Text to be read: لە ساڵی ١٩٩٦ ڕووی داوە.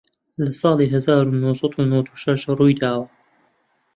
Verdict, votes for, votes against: rejected, 0, 2